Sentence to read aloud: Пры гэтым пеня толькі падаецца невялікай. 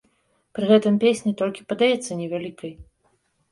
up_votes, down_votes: 1, 2